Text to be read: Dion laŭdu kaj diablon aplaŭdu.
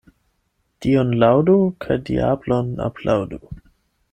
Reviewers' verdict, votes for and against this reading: accepted, 8, 0